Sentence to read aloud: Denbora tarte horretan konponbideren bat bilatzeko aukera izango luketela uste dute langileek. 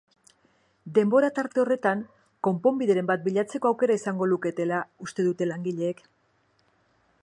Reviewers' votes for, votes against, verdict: 4, 0, accepted